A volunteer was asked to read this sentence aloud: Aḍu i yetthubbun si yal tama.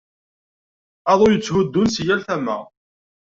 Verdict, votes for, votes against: rejected, 1, 2